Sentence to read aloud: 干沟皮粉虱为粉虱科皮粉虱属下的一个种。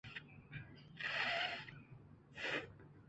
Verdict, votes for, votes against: rejected, 1, 4